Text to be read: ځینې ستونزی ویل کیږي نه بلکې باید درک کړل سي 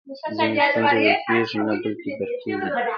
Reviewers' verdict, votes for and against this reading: rejected, 0, 2